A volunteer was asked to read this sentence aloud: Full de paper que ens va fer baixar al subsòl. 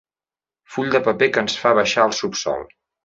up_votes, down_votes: 1, 2